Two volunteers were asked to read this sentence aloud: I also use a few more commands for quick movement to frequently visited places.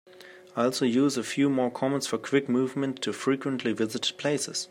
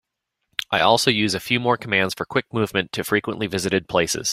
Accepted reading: second